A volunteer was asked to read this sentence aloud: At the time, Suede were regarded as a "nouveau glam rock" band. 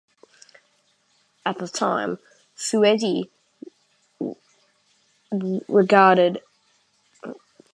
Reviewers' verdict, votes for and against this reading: rejected, 1, 2